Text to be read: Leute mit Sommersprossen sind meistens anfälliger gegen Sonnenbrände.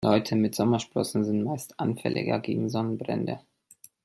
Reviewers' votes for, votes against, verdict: 1, 2, rejected